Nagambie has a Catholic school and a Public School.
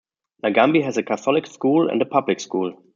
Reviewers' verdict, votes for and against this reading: rejected, 0, 2